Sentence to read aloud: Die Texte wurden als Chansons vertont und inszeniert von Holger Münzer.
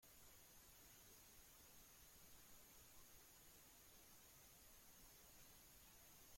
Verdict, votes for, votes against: rejected, 0, 2